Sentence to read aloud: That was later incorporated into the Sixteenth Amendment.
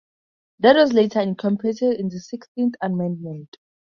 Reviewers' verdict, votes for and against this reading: accepted, 2, 0